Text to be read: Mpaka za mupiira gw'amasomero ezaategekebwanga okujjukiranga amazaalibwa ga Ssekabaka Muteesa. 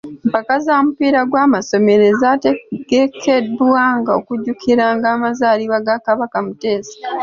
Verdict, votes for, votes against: rejected, 0, 2